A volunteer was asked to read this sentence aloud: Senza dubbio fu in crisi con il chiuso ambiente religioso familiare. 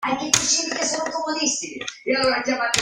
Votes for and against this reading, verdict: 0, 2, rejected